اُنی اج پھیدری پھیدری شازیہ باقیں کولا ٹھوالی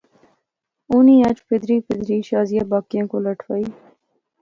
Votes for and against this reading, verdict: 2, 0, accepted